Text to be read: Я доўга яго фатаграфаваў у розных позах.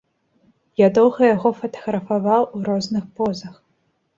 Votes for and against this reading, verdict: 2, 0, accepted